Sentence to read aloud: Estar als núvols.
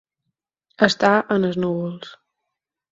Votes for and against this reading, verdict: 4, 6, rejected